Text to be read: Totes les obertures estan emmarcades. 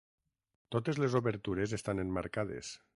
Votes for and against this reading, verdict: 6, 0, accepted